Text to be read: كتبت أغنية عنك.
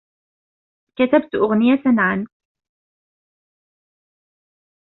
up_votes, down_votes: 1, 2